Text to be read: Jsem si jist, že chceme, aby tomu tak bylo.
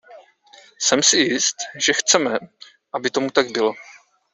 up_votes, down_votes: 2, 0